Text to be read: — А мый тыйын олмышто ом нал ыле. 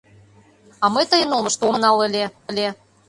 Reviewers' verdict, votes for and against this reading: rejected, 0, 2